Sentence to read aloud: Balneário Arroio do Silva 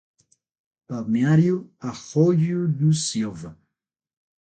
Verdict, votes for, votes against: rejected, 0, 6